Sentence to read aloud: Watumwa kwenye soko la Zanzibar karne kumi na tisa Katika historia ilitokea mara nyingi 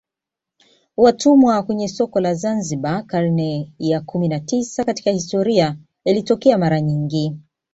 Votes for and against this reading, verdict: 2, 0, accepted